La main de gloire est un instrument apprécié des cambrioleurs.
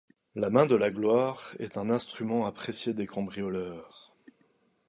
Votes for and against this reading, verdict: 0, 2, rejected